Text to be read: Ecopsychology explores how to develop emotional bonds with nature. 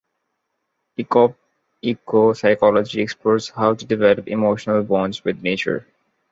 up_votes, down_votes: 2, 1